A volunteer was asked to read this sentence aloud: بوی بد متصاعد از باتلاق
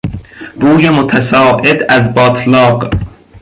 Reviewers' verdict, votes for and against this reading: rejected, 0, 2